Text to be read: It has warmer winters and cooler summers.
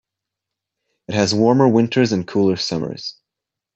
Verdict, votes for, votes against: accepted, 2, 0